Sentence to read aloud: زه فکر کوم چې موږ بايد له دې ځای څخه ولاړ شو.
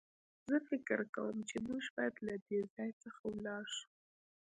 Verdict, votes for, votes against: rejected, 1, 2